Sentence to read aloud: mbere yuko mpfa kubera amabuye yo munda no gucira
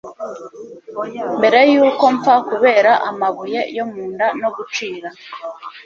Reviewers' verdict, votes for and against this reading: accepted, 2, 1